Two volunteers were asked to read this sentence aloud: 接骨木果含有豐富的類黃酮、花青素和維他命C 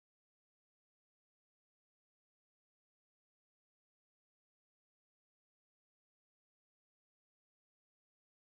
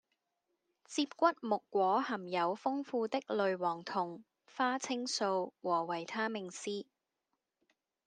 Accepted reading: second